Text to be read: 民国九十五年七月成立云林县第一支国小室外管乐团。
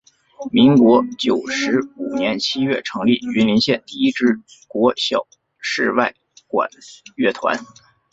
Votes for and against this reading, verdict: 3, 0, accepted